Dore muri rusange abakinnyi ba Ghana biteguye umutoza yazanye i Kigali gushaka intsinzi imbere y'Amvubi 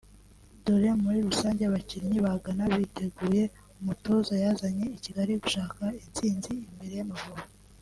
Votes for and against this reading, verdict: 1, 2, rejected